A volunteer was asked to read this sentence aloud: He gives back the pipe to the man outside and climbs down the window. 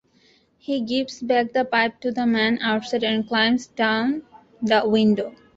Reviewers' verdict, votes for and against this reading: accepted, 2, 0